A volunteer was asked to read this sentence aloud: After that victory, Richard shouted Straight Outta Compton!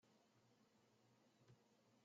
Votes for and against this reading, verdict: 0, 2, rejected